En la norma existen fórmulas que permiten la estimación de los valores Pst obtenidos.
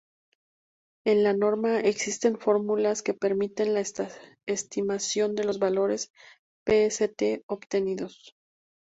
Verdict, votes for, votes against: rejected, 0, 2